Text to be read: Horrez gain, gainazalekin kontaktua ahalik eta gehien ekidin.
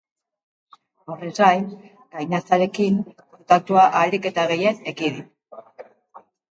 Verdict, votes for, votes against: accepted, 2, 1